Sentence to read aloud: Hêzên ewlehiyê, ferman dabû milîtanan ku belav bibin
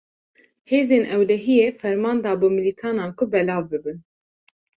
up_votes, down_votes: 2, 0